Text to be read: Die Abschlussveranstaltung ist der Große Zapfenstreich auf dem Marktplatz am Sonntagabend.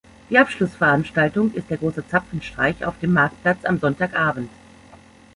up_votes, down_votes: 2, 0